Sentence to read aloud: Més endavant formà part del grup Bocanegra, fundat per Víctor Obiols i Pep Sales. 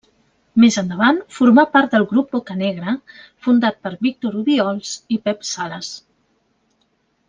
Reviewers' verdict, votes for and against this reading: accepted, 2, 0